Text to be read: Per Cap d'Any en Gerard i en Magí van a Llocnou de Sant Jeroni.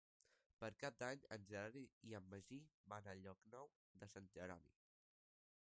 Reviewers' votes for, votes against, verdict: 0, 2, rejected